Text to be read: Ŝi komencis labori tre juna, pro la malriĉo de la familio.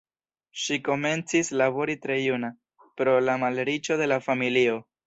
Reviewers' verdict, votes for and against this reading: accepted, 2, 0